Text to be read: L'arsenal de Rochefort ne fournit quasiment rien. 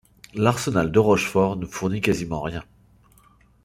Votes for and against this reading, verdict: 2, 1, accepted